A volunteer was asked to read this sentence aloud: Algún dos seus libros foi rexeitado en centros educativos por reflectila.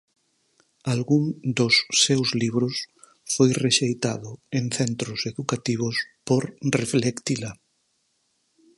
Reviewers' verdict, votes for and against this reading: accepted, 4, 2